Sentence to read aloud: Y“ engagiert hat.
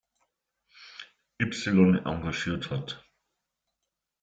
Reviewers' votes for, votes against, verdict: 2, 0, accepted